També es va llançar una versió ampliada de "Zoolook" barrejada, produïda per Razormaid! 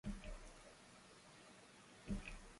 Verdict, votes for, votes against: rejected, 0, 2